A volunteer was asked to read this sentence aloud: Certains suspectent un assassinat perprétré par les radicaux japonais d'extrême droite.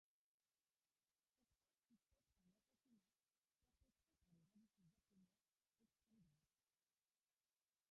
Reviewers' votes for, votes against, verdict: 0, 2, rejected